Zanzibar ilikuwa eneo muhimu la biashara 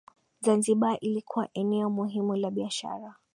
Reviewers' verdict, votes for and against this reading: accepted, 2, 1